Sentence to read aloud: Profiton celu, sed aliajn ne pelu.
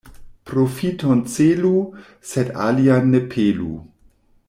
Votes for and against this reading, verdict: 1, 2, rejected